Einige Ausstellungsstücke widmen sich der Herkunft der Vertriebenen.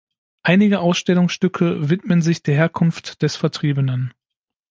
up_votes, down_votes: 1, 2